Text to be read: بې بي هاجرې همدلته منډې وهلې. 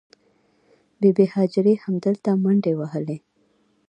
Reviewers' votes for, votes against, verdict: 2, 1, accepted